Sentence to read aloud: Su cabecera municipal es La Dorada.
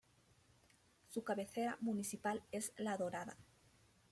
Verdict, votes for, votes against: accepted, 3, 0